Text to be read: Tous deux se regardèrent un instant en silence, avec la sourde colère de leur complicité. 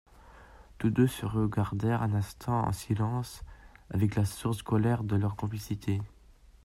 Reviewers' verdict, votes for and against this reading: rejected, 0, 2